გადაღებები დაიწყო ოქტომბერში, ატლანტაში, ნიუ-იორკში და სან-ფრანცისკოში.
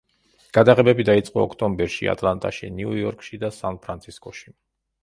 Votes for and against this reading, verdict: 2, 0, accepted